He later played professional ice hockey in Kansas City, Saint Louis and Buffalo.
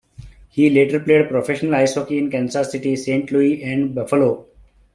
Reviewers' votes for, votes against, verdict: 1, 2, rejected